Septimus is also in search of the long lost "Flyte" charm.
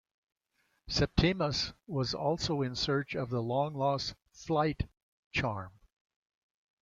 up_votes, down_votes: 0, 2